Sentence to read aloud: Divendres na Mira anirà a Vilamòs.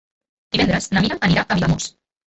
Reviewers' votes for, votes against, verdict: 0, 2, rejected